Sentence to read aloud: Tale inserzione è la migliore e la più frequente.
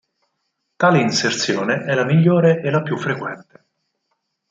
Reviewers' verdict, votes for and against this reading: accepted, 4, 0